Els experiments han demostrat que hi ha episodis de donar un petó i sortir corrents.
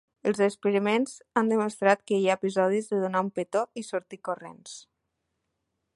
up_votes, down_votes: 3, 0